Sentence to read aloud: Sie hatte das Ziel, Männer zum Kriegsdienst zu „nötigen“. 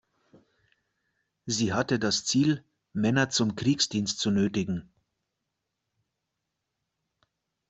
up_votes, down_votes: 2, 0